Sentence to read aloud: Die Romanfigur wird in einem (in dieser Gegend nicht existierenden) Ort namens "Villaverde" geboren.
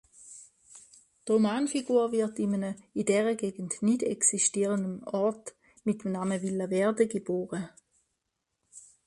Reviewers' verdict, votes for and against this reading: rejected, 0, 2